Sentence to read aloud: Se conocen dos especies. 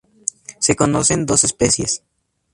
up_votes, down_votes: 2, 0